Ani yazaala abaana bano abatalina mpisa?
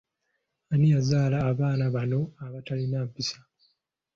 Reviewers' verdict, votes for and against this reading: accepted, 4, 0